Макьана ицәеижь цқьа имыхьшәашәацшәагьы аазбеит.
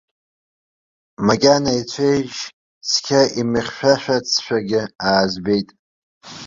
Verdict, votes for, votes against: accepted, 2, 0